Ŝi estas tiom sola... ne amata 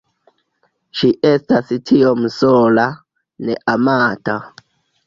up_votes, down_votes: 2, 0